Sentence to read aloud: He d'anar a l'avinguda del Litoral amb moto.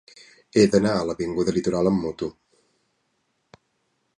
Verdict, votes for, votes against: rejected, 0, 2